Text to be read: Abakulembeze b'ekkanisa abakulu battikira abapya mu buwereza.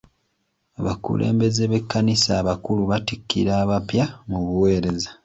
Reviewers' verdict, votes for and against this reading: accepted, 2, 0